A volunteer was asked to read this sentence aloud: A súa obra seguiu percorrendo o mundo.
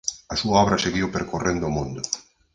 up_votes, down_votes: 4, 0